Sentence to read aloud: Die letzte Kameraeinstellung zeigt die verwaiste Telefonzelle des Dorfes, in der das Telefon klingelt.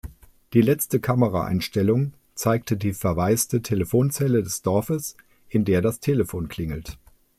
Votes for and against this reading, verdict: 0, 2, rejected